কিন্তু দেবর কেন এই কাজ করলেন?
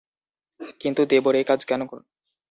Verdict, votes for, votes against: rejected, 0, 2